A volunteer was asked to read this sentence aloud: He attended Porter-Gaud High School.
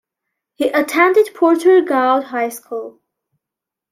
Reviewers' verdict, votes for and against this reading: accepted, 2, 1